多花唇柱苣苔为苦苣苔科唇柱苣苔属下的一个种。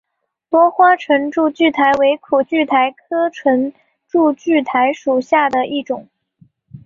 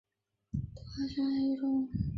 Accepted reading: first